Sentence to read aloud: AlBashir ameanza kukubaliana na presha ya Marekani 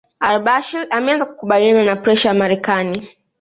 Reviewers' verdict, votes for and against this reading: accepted, 2, 0